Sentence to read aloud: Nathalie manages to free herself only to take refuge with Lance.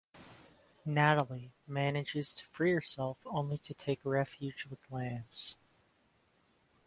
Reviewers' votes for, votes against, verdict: 1, 2, rejected